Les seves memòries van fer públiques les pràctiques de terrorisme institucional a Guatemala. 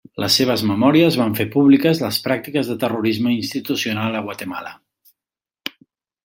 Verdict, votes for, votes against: accepted, 3, 1